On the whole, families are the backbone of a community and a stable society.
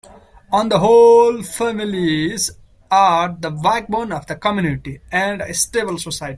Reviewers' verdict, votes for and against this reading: rejected, 0, 2